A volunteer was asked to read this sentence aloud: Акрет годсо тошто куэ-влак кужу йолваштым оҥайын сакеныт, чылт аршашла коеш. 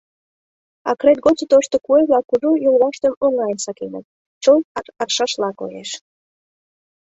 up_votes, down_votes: 1, 2